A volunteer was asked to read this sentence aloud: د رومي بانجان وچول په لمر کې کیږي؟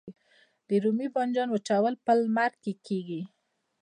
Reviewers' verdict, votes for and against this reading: accepted, 2, 1